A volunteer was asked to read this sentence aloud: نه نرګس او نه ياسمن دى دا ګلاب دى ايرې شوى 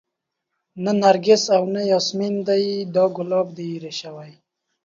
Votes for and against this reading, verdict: 2, 0, accepted